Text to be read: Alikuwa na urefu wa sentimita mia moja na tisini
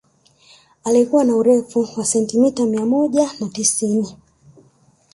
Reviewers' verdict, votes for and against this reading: rejected, 1, 2